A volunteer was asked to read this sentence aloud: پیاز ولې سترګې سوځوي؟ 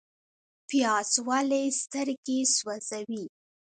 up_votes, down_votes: 1, 2